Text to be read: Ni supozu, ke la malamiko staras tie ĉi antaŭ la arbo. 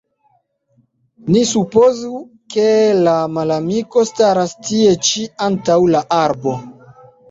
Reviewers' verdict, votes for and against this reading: rejected, 1, 2